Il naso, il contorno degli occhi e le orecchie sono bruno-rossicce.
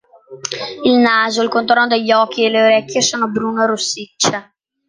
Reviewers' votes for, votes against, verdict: 2, 0, accepted